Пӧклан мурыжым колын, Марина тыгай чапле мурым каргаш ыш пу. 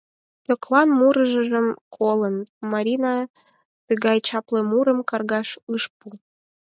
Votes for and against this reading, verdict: 0, 4, rejected